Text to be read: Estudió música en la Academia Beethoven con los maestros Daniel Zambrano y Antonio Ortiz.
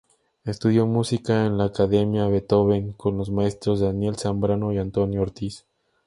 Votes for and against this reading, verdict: 4, 0, accepted